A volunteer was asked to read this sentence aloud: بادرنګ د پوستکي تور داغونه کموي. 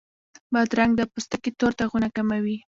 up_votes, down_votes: 0, 2